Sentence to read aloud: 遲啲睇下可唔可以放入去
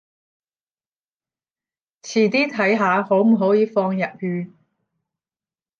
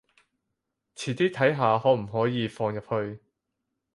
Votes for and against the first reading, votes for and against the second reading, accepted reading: 0, 10, 4, 0, second